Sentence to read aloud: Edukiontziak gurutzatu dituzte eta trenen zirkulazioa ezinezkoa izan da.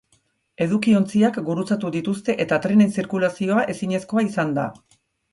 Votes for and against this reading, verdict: 2, 0, accepted